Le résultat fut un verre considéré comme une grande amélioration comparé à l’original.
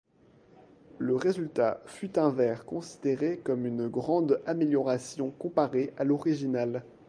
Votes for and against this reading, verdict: 2, 0, accepted